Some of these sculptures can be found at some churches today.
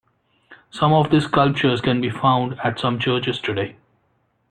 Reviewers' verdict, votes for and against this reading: accepted, 2, 0